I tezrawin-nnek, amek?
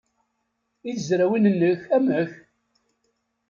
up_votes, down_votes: 2, 0